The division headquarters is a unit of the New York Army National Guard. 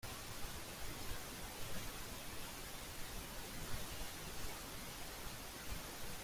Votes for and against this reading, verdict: 0, 2, rejected